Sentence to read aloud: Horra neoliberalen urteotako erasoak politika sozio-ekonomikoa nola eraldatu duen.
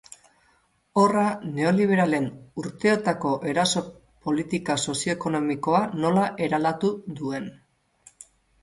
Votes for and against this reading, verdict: 2, 4, rejected